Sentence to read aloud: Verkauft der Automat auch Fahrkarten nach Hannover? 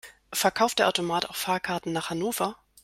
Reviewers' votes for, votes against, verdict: 2, 0, accepted